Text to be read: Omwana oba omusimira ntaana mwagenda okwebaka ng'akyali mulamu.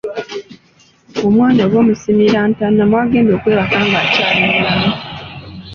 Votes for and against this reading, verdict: 2, 0, accepted